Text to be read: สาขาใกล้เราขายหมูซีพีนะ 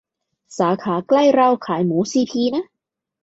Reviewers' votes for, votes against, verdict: 2, 0, accepted